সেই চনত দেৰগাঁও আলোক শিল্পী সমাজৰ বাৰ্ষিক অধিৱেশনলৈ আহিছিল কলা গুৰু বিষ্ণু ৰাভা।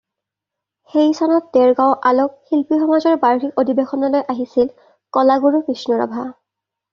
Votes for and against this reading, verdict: 2, 0, accepted